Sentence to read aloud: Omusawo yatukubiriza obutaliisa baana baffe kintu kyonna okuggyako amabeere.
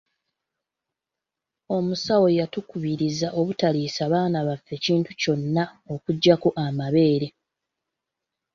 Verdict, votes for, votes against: accepted, 3, 0